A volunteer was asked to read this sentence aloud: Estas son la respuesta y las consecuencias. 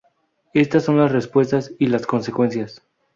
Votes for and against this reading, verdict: 2, 2, rejected